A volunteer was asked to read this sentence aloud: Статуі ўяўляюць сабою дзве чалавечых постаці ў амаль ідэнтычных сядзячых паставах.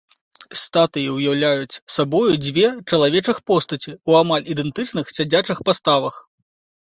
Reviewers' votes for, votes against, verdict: 2, 0, accepted